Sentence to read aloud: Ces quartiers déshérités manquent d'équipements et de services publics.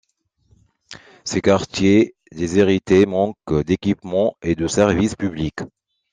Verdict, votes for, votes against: rejected, 1, 2